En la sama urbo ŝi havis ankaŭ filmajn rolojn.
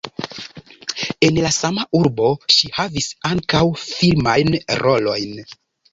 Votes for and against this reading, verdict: 2, 0, accepted